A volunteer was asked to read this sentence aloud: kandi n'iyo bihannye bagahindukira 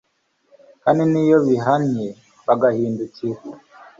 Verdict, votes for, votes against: accepted, 2, 1